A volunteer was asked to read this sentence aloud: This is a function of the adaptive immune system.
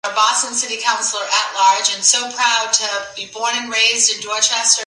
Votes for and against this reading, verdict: 0, 2, rejected